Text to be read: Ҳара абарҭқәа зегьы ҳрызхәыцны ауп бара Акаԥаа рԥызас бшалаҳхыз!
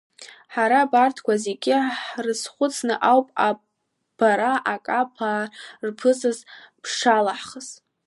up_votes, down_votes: 1, 3